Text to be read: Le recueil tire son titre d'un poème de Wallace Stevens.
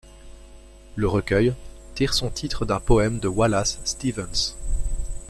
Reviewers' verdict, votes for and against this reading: rejected, 0, 2